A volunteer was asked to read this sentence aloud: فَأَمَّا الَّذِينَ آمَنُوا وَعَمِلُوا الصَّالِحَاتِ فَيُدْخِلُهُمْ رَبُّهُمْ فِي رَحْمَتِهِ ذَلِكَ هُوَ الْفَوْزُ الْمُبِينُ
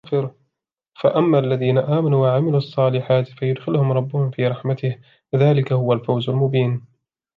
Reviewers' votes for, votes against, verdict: 1, 2, rejected